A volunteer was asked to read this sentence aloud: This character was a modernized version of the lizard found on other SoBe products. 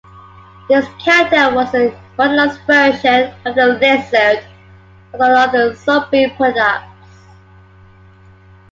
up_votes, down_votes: 0, 3